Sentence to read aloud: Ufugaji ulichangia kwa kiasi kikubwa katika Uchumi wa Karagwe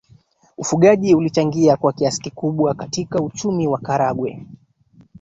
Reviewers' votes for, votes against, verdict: 1, 2, rejected